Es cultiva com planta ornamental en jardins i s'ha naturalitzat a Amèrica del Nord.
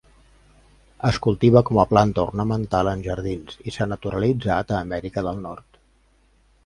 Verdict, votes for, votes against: rejected, 0, 2